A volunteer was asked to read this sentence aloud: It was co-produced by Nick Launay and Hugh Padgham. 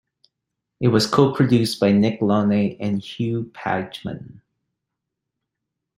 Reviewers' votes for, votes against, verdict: 2, 1, accepted